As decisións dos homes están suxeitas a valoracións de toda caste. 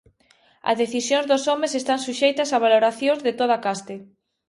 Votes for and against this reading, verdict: 2, 1, accepted